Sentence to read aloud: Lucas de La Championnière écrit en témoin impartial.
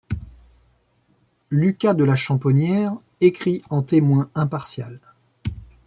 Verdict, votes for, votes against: rejected, 1, 2